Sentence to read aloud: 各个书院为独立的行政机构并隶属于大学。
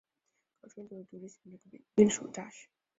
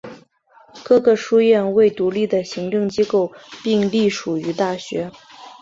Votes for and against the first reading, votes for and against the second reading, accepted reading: 2, 3, 6, 0, second